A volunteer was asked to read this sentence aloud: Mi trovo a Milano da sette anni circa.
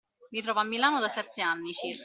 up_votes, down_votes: 1, 2